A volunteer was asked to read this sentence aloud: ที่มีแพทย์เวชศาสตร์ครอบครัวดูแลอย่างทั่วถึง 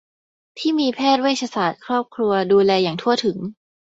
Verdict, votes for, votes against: accepted, 2, 0